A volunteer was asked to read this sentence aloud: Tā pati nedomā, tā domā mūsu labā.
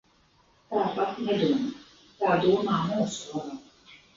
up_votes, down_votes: 0, 7